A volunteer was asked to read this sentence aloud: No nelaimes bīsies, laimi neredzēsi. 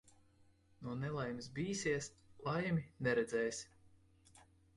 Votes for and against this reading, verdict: 2, 0, accepted